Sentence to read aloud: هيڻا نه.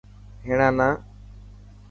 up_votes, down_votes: 2, 0